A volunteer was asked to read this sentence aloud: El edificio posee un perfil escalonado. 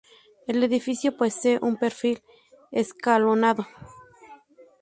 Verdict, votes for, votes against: rejected, 0, 2